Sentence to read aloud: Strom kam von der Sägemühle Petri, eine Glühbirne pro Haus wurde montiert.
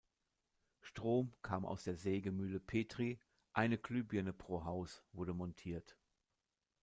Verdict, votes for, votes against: rejected, 1, 2